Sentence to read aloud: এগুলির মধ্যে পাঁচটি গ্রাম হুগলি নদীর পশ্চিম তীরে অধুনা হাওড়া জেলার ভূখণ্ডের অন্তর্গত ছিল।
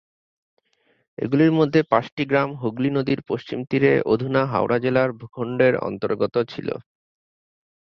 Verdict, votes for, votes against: accepted, 2, 0